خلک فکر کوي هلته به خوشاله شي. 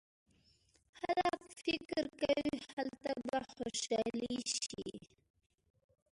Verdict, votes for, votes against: rejected, 1, 2